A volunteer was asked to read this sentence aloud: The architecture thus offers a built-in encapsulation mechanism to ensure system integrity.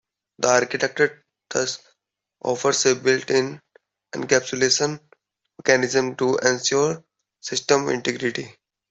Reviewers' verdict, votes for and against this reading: accepted, 2, 0